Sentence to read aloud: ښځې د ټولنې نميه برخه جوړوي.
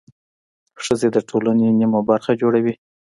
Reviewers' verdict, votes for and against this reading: accepted, 2, 1